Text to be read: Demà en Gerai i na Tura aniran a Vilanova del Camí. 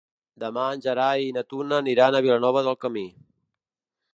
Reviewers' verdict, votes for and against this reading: rejected, 0, 2